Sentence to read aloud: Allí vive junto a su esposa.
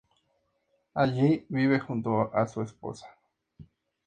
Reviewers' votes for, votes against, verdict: 2, 0, accepted